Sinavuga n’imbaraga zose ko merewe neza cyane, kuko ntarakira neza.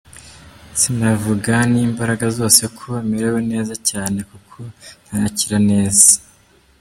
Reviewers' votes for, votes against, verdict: 2, 0, accepted